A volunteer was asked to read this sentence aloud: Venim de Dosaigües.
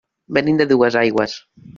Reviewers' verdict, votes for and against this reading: rejected, 1, 2